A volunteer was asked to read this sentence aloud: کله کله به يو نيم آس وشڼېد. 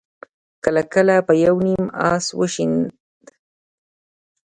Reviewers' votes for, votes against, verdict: 2, 1, accepted